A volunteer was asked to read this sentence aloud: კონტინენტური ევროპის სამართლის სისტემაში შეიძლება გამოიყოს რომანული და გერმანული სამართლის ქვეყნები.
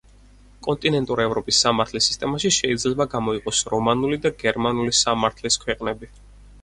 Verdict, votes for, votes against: rejected, 0, 4